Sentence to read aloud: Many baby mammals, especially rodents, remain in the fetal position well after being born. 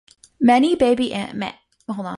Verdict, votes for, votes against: rejected, 0, 2